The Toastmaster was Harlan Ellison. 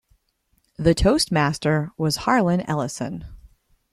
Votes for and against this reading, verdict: 2, 0, accepted